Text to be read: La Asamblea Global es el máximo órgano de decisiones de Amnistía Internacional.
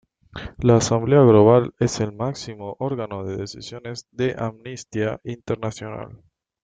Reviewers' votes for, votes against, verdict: 0, 2, rejected